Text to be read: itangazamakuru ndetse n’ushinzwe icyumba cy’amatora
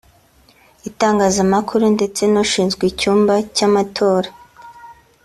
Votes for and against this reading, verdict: 4, 0, accepted